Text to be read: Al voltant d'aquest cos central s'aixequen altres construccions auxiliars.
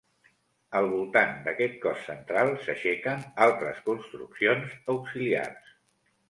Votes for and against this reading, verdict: 2, 0, accepted